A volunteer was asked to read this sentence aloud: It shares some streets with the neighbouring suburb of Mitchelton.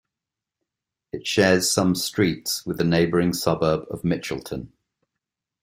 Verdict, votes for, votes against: accepted, 2, 0